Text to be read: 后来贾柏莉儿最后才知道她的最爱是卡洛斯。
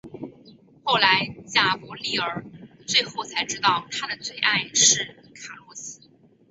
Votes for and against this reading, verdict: 0, 2, rejected